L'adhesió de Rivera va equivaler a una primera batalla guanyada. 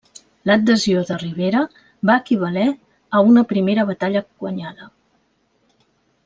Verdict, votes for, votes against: accepted, 2, 0